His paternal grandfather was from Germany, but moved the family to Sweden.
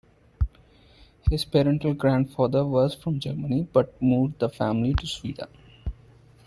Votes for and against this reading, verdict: 1, 2, rejected